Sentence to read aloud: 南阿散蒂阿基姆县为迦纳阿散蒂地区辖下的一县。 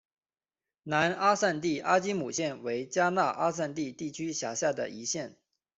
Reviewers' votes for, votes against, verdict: 2, 0, accepted